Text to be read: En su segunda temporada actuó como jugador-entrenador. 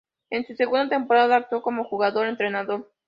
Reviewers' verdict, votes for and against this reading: accepted, 2, 0